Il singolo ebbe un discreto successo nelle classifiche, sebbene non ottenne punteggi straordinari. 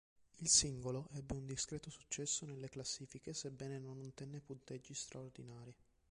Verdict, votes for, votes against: rejected, 1, 2